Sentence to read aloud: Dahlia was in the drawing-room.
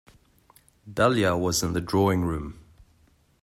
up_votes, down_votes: 2, 0